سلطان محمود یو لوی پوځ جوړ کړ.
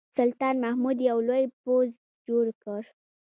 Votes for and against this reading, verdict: 1, 2, rejected